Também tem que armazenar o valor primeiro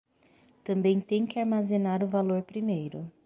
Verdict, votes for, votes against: accepted, 6, 0